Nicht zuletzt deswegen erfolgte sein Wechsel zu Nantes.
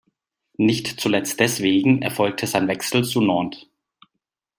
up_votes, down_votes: 2, 0